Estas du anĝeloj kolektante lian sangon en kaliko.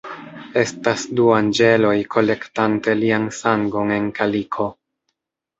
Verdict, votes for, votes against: rejected, 1, 2